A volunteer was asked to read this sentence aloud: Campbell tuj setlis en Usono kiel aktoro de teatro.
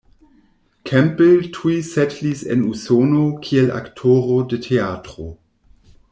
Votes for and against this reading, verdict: 1, 2, rejected